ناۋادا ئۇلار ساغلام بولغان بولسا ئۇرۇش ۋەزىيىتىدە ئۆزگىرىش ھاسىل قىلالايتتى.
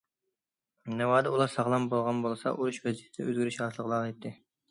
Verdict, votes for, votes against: rejected, 1, 2